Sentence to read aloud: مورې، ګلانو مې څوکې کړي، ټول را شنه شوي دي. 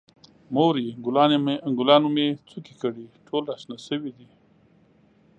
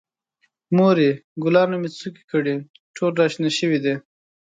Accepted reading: second